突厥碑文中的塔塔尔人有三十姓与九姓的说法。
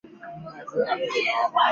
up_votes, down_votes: 1, 4